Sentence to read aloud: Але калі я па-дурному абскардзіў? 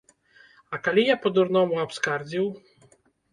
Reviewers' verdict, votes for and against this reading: rejected, 1, 2